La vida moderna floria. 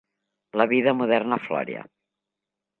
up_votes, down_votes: 0, 2